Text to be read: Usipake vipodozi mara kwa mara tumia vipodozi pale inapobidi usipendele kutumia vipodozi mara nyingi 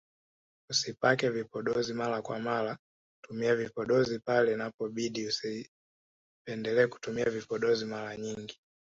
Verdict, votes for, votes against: accepted, 3, 1